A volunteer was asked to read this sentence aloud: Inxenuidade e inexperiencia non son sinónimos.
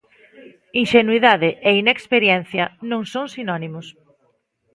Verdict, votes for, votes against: rejected, 1, 2